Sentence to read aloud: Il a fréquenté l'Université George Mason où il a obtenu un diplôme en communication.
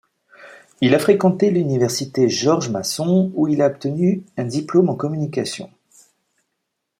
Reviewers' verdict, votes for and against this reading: rejected, 1, 2